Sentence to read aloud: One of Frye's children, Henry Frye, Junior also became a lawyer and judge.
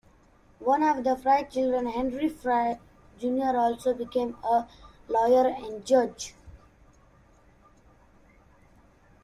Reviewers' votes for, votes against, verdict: 1, 2, rejected